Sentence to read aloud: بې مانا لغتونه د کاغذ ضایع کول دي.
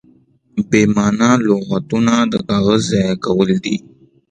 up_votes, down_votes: 2, 0